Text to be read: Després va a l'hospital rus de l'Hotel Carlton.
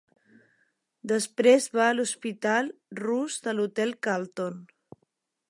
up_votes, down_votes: 2, 0